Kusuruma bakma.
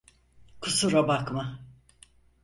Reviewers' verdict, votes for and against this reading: rejected, 0, 4